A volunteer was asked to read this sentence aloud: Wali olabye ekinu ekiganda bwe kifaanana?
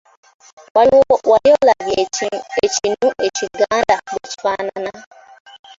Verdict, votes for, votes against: rejected, 1, 3